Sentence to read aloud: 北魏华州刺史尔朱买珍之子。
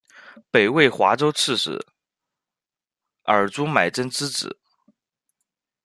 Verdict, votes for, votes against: accepted, 2, 0